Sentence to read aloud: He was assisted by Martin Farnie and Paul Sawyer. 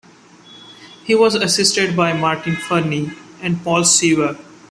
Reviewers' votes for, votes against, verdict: 1, 3, rejected